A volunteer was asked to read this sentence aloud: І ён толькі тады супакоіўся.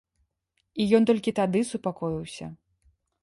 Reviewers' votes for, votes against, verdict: 2, 0, accepted